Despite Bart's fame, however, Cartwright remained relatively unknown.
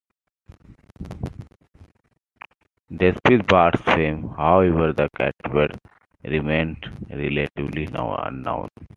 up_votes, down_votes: 0, 2